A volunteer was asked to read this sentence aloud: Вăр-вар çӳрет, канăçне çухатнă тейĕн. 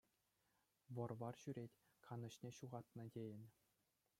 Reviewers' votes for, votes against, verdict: 2, 1, accepted